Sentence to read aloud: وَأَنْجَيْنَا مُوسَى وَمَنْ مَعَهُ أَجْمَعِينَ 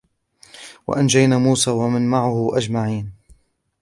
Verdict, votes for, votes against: accepted, 2, 0